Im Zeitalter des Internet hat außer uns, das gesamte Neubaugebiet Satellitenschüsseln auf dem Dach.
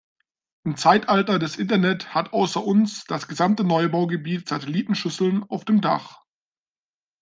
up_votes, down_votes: 2, 0